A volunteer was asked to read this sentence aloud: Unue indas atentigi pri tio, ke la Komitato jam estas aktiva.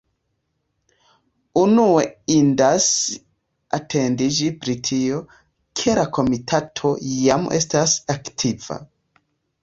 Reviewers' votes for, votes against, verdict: 0, 2, rejected